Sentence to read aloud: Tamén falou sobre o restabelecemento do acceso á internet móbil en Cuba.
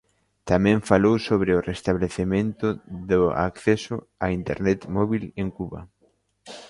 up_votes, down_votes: 1, 2